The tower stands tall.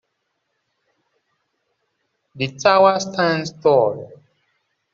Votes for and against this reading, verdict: 2, 0, accepted